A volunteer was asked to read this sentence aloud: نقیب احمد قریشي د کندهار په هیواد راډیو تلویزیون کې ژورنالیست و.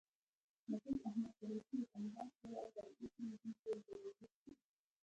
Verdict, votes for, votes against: rejected, 0, 2